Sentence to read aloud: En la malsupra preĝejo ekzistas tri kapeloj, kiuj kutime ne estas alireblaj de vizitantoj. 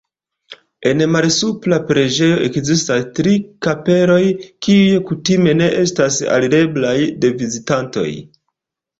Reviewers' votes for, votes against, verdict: 0, 2, rejected